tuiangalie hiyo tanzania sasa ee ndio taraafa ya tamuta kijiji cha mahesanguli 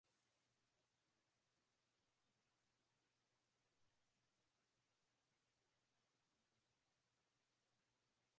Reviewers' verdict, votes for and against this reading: rejected, 0, 6